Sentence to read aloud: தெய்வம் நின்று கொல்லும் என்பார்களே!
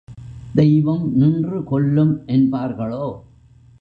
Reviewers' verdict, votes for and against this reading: rejected, 0, 2